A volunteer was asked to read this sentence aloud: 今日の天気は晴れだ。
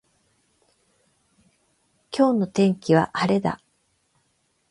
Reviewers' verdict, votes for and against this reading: accepted, 8, 0